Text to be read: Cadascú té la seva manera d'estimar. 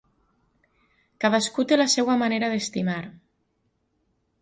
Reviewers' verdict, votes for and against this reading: rejected, 0, 2